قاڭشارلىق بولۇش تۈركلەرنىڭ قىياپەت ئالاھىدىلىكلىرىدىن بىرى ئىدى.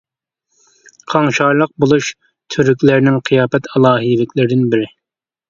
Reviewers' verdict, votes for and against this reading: rejected, 0, 2